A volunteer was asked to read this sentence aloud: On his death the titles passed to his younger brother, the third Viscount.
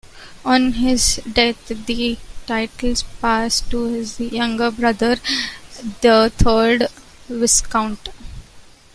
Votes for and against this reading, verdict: 2, 1, accepted